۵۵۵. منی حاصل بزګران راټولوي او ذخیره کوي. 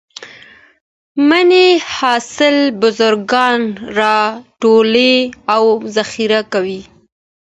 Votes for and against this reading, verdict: 0, 2, rejected